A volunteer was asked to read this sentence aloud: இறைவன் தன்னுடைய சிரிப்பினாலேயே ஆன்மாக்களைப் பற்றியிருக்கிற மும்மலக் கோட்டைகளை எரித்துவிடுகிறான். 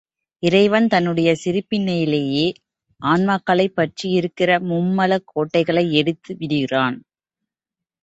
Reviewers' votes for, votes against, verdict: 1, 2, rejected